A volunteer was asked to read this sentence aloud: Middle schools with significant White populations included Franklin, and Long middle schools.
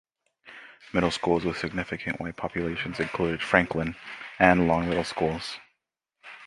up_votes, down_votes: 2, 0